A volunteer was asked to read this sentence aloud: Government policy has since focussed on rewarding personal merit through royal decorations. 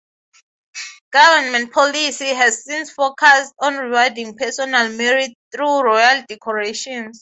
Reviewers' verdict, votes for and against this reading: accepted, 6, 0